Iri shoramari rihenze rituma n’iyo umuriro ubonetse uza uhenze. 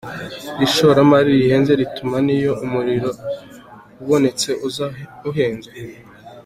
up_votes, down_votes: 0, 2